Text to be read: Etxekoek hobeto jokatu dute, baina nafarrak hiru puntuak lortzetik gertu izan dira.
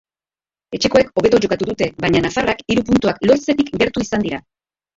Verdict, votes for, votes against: rejected, 0, 4